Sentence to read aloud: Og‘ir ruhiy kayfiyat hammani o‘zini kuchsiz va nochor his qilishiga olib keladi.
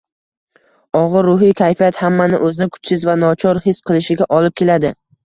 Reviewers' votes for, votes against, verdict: 2, 0, accepted